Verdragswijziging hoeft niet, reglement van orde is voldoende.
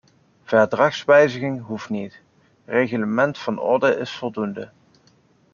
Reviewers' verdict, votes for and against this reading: accepted, 2, 0